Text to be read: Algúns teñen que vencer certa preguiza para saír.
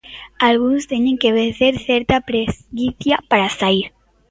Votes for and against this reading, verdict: 0, 2, rejected